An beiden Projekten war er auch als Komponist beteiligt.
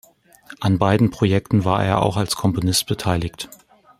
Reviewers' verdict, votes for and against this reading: accepted, 2, 0